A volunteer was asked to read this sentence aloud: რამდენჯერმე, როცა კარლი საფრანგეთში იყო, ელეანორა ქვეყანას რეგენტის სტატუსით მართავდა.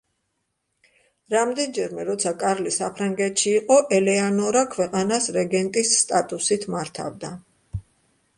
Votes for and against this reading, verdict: 2, 0, accepted